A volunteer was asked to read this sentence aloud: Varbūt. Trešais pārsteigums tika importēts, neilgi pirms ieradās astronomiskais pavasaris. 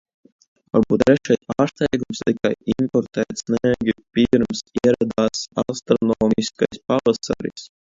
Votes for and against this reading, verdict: 0, 2, rejected